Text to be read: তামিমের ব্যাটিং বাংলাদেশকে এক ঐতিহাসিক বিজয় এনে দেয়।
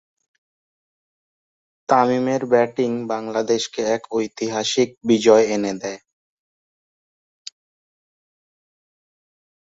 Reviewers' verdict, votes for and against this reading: accepted, 2, 0